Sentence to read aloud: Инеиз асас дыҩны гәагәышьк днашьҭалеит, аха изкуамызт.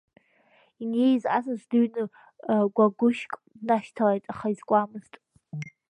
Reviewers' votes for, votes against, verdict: 1, 2, rejected